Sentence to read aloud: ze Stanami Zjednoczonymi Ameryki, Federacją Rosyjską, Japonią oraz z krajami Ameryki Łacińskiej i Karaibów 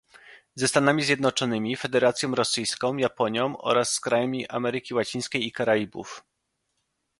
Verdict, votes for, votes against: rejected, 0, 2